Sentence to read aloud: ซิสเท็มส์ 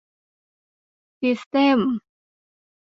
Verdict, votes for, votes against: accepted, 2, 0